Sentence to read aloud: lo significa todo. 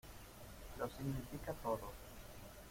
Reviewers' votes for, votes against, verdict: 1, 2, rejected